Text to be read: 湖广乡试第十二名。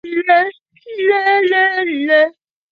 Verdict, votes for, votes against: rejected, 0, 4